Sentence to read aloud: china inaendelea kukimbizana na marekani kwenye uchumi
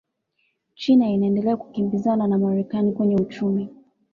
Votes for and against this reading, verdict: 2, 0, accepted